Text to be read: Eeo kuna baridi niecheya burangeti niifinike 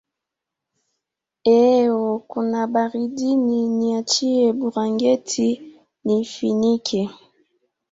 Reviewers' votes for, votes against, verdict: 2, 0, accepted